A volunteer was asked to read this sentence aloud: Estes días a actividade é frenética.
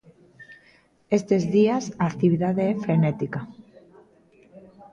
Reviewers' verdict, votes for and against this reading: rejected, 0, 2